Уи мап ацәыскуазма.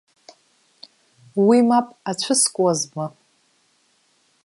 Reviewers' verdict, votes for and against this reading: rejected, 1, 2